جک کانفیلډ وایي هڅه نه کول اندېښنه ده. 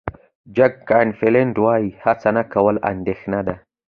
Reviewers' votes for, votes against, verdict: 2, 0, accepted